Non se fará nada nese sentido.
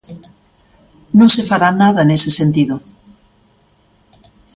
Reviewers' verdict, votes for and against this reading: accepted, 2, 0